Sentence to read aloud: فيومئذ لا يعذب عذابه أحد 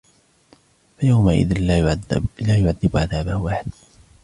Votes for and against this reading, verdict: 2, 1, accepted